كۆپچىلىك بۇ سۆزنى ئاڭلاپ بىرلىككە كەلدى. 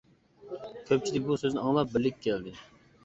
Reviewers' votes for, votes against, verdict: 2, 0, accepted